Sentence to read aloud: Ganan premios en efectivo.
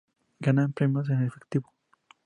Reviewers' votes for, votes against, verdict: 2, 0, accepted